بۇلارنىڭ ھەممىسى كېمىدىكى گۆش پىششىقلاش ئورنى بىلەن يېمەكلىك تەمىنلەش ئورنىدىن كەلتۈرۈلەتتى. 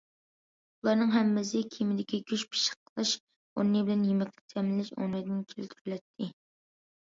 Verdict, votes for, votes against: rejected, 1, 2